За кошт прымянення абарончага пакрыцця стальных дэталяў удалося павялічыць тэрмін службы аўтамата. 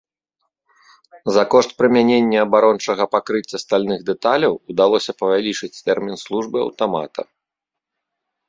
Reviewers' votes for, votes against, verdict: 0, 2, rejected